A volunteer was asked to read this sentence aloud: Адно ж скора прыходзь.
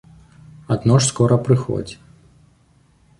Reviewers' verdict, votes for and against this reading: accepted, 2, 0